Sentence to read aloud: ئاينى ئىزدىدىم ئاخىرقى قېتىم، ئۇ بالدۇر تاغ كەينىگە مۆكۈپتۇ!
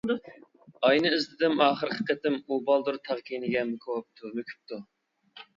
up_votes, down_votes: 0, 2